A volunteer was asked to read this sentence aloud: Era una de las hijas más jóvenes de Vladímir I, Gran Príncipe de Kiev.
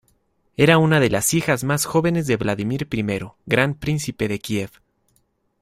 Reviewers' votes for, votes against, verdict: 1, 2, rejected